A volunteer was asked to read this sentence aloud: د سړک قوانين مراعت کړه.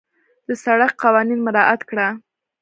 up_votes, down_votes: 2, 1